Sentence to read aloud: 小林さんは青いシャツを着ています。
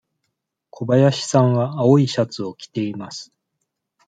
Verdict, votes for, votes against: accepted, 2, 0